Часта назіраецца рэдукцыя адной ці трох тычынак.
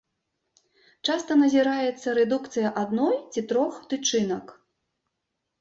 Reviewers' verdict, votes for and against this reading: accepted, 2, 0